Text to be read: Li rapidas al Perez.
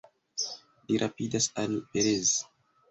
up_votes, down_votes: 1, 2